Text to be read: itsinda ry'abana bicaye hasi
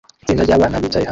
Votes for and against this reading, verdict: 0, 2, rejected